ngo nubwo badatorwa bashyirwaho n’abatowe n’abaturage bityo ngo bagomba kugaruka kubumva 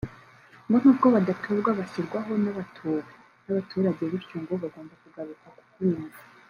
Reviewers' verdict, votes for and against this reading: rejected, 1, 2